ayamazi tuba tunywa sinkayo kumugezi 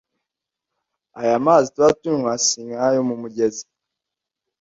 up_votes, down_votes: 1, 2